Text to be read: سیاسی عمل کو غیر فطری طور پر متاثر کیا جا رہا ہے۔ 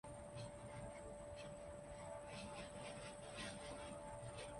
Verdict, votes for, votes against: rejected, 0, 2